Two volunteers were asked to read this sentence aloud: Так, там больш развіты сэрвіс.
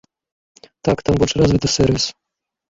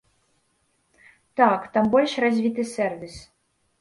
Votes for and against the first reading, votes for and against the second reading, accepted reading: 2, 3, 2, 0, second